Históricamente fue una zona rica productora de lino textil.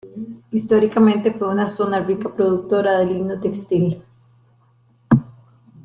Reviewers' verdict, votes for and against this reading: accepted, 2, 0